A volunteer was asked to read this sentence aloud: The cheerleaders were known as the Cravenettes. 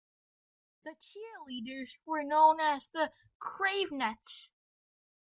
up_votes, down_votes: 1, 2